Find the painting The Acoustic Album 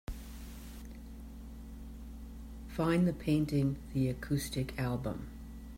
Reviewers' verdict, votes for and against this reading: accepted, 2, 0